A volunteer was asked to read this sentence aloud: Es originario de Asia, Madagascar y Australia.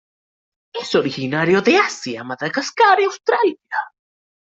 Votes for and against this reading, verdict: 0, 2, rejected